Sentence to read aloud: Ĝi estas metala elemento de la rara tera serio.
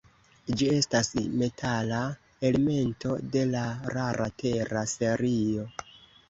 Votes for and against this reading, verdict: 2, 0, accepted